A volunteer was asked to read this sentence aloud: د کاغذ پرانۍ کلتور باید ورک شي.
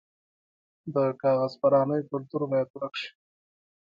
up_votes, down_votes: 2, 0